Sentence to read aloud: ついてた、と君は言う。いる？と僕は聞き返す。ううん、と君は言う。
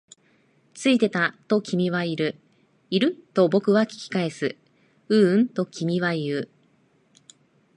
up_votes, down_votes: 0, 3